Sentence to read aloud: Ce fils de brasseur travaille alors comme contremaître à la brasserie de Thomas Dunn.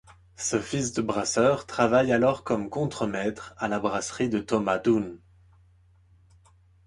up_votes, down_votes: 3, 0